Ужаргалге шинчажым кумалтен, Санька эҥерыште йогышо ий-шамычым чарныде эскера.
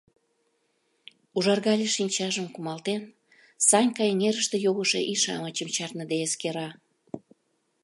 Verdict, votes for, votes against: rejected, 0, 2